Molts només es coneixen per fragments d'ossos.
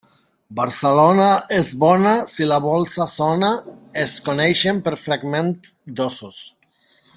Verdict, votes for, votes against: rejected, 0, 2